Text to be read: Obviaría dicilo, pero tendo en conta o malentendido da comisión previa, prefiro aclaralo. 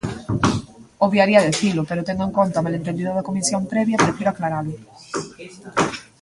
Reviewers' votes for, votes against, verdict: 0, 2, rejected